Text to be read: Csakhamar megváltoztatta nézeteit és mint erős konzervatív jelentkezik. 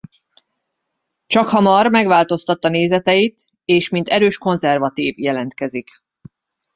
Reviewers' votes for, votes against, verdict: 2, 0, accepted